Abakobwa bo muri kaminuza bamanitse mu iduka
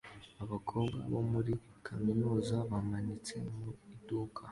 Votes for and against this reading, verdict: 2, 0, accepted